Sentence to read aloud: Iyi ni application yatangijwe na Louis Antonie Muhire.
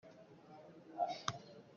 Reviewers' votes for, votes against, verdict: 0, 2, rejected